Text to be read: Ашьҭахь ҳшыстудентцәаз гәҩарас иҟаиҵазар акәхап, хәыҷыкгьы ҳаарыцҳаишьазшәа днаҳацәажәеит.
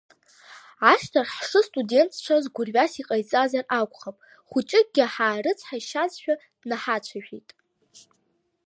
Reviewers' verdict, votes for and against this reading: accepted, 2, 1